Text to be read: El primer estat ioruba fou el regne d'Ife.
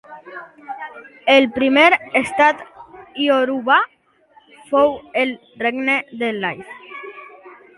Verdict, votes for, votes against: rejected, 1, 2